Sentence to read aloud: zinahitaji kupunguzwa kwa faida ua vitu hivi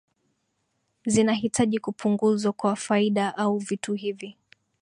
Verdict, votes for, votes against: accepted, 2, 0